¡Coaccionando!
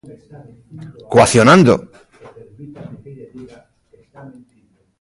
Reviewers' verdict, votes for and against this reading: rejected, 1, 2